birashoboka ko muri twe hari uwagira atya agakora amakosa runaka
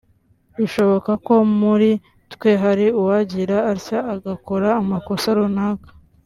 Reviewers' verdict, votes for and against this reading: rejected, 1, 2